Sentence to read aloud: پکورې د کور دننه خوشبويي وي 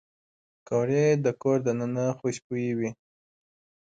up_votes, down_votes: 2, 0